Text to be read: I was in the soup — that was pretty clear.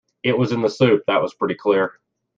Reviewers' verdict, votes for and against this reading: rejected, 0, 2